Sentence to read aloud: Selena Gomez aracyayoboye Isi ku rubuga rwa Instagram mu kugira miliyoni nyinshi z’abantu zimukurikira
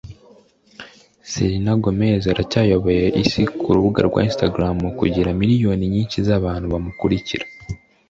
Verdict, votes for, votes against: rejected, 0, 2